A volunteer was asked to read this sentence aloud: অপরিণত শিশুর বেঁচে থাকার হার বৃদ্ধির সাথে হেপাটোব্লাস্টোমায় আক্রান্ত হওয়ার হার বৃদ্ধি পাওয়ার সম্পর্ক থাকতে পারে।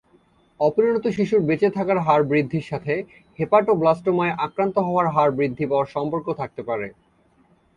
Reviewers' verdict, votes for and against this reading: accepted, 4, 0